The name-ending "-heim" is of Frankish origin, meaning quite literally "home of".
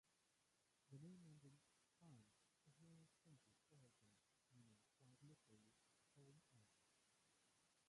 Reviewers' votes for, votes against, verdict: 1, 2, rejected